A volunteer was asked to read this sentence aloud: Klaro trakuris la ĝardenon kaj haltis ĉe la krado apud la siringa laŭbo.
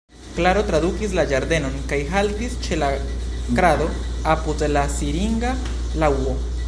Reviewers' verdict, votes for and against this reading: rejected, 1, 2